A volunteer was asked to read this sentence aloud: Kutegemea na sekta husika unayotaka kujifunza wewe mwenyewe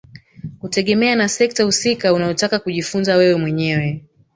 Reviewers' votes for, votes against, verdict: 1, 2, rejected